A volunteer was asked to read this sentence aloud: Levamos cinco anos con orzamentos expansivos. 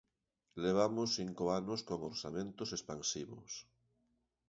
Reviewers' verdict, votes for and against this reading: accepted, 2, 0